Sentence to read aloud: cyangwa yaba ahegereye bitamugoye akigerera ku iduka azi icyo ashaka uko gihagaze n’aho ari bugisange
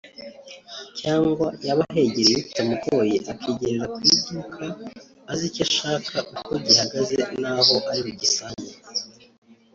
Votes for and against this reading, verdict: 1, 2, rejected